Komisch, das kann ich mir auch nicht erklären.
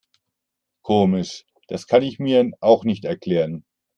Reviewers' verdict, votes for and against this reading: rejected, 1, 2